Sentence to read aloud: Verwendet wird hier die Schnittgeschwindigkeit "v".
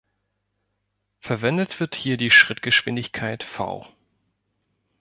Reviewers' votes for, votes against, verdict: 1, 2, rejected